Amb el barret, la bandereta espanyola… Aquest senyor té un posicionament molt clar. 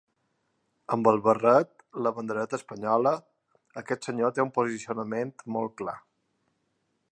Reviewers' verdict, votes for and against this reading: accepted, 3, 0